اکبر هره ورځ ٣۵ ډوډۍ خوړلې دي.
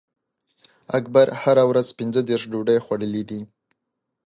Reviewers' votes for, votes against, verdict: 0, 2, rejected